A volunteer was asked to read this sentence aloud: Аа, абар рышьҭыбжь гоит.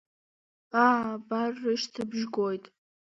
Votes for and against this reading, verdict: 2, 1, accepted